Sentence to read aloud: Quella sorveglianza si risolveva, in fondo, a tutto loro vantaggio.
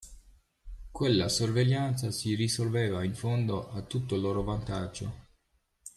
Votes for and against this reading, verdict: 2, 0, accepted